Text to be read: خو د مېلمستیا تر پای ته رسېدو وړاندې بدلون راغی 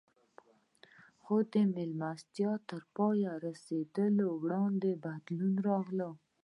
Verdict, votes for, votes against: rejected, 1, 2